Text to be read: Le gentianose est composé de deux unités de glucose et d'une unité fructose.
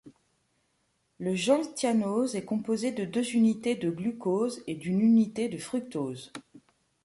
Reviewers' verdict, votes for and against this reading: rejected, 0, 2